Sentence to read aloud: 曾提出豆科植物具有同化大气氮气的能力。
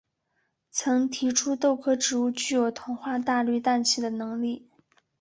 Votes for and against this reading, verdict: 2, 0, accepted